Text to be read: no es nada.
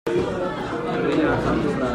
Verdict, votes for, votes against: rejected, 0, 2